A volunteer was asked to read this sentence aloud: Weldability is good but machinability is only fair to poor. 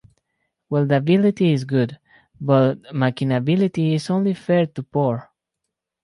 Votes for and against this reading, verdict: 2, 4, rejected